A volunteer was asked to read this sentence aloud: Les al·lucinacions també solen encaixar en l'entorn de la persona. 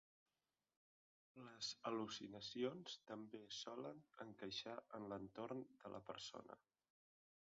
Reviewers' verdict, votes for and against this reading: rejected, 0, 2